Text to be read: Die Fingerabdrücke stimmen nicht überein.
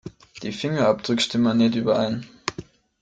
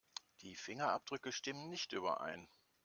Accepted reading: second